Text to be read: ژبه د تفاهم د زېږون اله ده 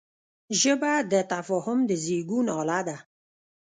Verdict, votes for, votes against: accepted, 2, 0